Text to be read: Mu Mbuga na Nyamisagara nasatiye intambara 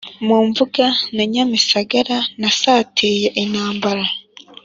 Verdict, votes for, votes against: accepted, 2, 0